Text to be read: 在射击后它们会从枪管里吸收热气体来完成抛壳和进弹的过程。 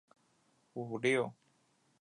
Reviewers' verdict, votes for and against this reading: rejected, 1, 4